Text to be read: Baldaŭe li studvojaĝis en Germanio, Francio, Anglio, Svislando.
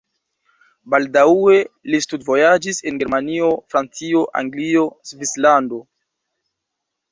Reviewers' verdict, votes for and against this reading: rejected, 0, 2